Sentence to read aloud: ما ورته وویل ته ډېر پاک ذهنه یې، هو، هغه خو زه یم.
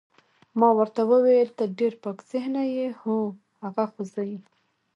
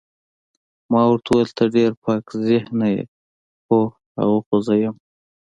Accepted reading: second